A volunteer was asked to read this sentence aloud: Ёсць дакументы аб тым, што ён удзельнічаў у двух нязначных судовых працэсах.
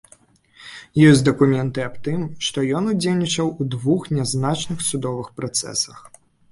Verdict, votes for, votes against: accepted, 2, 0